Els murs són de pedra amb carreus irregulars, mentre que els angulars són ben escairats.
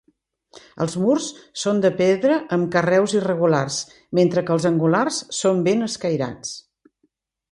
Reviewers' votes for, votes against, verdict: 2, 0, accepted